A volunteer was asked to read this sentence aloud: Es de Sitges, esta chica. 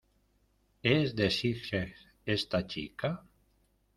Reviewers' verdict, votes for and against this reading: rejected, 1, 2